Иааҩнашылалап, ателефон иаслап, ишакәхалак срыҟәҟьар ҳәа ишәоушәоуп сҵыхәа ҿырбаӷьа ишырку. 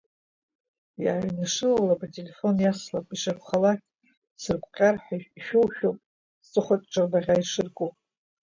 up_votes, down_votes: 0, 2